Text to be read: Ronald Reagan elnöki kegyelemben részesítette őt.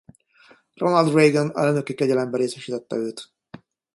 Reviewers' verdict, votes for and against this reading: rejected, 0, 2